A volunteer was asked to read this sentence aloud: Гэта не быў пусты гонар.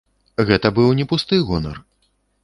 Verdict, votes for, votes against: rejected, 1, 2